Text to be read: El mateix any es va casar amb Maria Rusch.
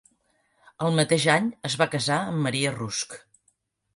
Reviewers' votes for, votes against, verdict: 0, 2, rejected